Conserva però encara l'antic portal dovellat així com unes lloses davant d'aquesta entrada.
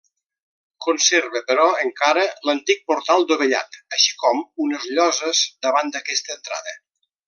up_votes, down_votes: 2, 0